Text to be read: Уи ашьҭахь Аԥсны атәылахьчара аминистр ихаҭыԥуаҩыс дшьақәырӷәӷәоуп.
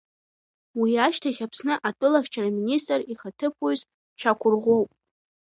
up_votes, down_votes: 2, 0